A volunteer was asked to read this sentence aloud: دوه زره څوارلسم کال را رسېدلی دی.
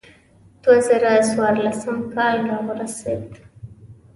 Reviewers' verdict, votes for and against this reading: rejected, 1, 2